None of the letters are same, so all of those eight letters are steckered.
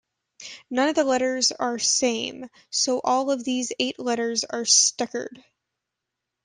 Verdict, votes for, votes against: rejected, 1, 2